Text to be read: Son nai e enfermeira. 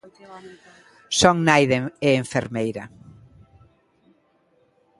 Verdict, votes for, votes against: accepted, 2, 1